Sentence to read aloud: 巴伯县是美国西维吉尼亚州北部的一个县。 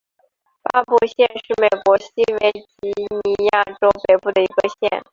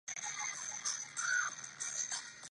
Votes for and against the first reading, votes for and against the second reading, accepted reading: 4, 0, 0, 3, first